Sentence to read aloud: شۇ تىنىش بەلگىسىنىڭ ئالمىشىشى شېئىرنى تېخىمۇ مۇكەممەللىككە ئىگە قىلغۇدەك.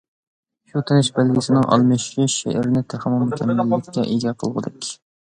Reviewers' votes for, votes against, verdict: 2, 1, accepted